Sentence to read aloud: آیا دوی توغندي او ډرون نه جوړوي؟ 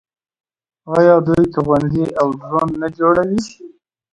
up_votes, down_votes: 2, 0